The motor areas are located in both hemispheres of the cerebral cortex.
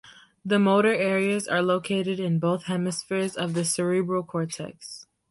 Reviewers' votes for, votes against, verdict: 2, 0, accepted